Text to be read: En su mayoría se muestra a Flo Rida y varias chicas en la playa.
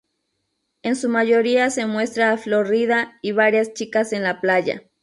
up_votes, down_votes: 2, 2